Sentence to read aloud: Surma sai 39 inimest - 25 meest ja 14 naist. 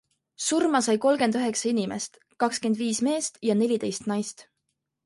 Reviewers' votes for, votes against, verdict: 0, 2, rejected